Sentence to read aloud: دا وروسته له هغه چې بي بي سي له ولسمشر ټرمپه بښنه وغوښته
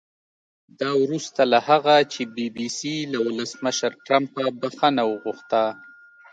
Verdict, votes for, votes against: rejected, 1, 2